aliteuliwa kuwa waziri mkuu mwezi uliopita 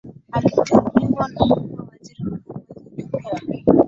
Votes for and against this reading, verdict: 1, 2, rejected